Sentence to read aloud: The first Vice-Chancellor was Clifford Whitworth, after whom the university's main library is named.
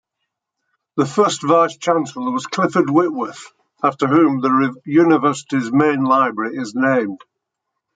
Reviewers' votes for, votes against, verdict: 1, 2, rejected